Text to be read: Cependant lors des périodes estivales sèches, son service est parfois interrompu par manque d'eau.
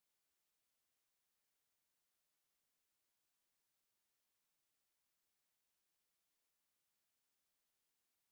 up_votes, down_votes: 0, 2